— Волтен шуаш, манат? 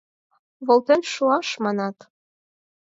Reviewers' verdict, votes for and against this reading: accepted, 4, 0